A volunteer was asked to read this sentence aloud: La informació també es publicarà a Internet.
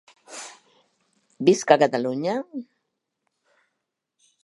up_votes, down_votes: 0, 2